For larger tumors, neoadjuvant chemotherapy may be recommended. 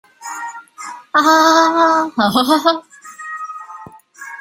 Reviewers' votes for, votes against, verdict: 0, 2, rejected